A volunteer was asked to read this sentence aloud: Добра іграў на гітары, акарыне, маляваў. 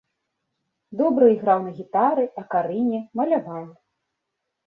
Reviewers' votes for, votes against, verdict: 3, 0, accepted